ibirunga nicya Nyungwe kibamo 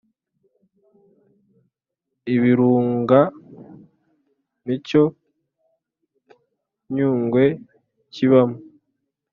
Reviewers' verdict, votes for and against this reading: rejected, 1, 2